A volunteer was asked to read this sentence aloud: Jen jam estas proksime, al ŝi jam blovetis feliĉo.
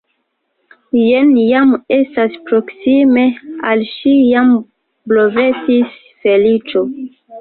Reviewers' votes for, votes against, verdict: 2, 1, accepted